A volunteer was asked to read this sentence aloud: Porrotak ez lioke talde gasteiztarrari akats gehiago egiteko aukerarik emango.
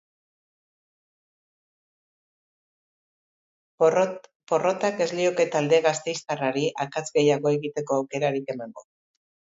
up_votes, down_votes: 2, 3